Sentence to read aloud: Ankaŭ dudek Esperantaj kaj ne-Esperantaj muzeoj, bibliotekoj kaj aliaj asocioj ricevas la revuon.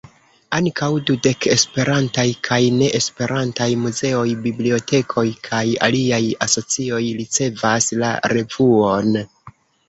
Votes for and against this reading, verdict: 0, 2, rejected